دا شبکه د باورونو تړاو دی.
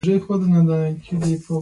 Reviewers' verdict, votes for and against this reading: accepted, 2, 0